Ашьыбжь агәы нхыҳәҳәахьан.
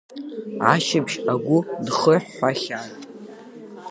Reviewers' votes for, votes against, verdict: 1, 2, rejected